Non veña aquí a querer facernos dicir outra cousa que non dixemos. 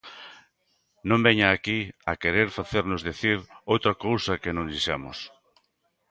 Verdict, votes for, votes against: rejected, 1, 2